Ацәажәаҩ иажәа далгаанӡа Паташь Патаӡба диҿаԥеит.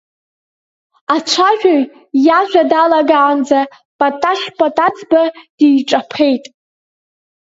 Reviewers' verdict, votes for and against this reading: rejected, 0, 2